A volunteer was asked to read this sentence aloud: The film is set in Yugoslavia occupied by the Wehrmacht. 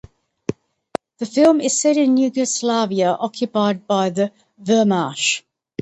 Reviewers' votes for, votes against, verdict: 0, 2, rejected